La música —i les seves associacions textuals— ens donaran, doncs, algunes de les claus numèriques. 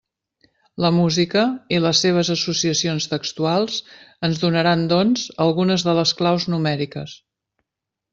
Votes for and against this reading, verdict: 3, 0, accepted